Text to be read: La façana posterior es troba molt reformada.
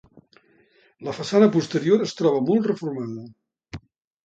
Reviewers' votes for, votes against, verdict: 2, 0, accepted